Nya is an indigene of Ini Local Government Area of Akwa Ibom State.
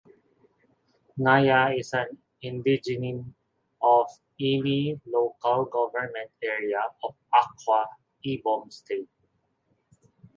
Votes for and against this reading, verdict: 0, 2, rejected